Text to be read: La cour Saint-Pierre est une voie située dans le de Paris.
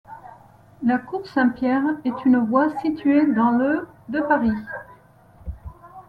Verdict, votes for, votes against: accepted, 2, 0